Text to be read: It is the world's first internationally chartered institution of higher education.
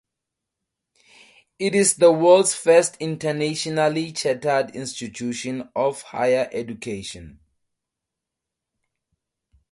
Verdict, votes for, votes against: rejected, 2, 2